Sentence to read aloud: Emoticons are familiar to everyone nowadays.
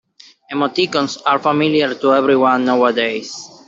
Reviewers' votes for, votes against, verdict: 1, 2, rejected